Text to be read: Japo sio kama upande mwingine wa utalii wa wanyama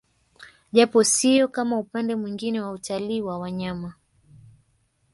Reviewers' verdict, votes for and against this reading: rejected, 1, 2